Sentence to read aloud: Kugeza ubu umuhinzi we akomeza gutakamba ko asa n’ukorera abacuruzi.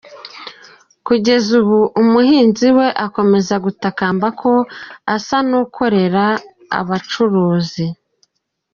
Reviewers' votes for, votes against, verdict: 2, 0, accepted